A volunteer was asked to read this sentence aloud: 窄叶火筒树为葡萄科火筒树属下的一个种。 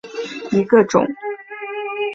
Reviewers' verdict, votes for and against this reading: rejected, 0, 3